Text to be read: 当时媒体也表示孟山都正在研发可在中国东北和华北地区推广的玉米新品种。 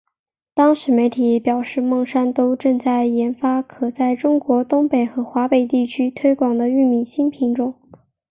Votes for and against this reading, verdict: 4, 2, accepted